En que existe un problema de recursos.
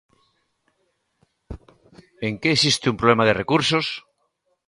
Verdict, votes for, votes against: rejected, 0, 2